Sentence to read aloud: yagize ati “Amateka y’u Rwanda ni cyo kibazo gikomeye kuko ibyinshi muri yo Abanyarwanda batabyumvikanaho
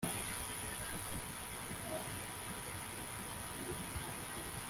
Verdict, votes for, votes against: rejected, 0, 2